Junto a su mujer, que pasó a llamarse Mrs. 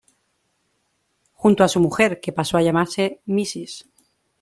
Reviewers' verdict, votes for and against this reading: accepted, 2, 1